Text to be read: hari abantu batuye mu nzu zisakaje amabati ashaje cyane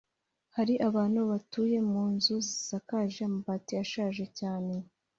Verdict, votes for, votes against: accepted, 3, 1